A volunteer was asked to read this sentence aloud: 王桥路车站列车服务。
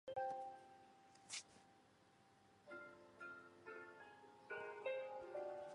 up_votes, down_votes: 0, 2